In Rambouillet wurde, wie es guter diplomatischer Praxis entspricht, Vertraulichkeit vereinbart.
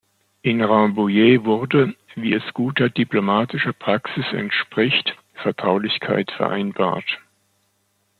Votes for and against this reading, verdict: 2, 0, accepted